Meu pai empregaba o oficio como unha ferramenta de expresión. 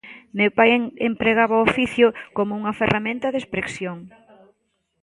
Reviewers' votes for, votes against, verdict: 0, 2, rejected